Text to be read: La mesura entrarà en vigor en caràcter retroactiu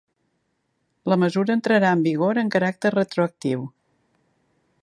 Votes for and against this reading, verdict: 3, 0, accepted